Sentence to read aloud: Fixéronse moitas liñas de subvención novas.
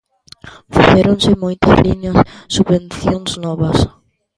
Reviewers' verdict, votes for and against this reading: rejected, 0, 2